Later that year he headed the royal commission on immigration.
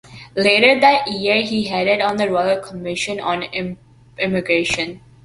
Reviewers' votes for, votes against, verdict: 0, 2, rejected